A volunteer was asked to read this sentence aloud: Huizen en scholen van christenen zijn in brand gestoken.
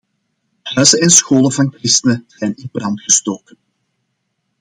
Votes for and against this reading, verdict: 2, 0, accepted